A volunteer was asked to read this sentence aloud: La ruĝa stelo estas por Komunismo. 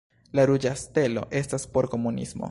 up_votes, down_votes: 1, 2